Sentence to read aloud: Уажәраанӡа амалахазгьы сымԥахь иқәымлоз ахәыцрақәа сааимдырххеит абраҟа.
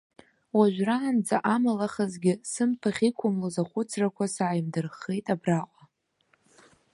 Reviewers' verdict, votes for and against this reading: accepted, 2, 0